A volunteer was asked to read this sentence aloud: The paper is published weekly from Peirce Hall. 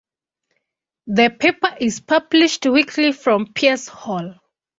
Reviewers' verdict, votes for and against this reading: accepted, 2, 0